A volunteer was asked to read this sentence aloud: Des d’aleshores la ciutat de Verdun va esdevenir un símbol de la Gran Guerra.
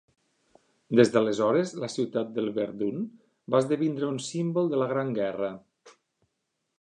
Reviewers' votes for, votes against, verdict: 1, 2, rejected